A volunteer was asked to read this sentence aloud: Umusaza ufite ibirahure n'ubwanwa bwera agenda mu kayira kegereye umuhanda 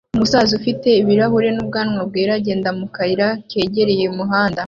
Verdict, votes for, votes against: accepted, 2, 1